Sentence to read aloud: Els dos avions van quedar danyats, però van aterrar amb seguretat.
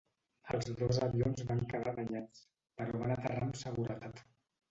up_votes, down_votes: 1, 2